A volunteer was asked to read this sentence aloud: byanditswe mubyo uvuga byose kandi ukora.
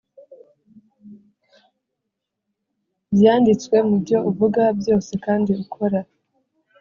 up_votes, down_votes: 2, 0